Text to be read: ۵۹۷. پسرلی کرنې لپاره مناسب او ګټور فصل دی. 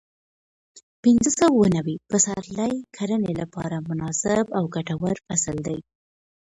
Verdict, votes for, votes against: rejected, 0, 2